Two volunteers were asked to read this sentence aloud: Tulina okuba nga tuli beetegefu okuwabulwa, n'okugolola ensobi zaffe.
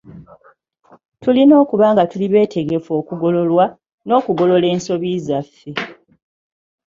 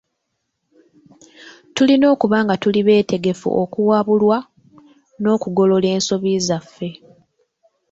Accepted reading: second